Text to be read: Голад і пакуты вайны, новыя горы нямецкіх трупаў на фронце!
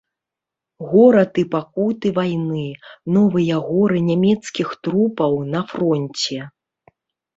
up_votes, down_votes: 1, 2